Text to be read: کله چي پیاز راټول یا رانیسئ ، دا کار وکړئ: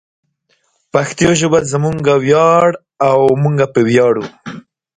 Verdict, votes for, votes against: rejected, 0, 2